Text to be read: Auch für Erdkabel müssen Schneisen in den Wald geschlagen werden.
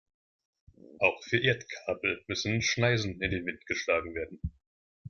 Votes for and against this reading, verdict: 1, 2, rejected